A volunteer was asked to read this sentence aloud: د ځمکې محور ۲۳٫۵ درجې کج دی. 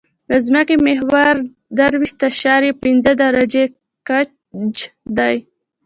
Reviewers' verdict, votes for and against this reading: rejected, 0, 2